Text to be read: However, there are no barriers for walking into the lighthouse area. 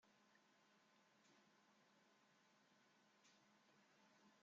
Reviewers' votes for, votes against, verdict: 0, 2, rejected